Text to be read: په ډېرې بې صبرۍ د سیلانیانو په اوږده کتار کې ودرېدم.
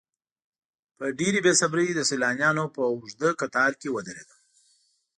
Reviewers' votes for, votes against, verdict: 3, 0, accepted